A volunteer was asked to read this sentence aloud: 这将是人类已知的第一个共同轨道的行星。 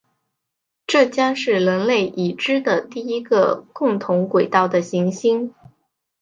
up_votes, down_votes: 1, 2